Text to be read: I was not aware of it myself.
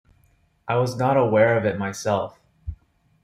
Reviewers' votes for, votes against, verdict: 2, 0, accepted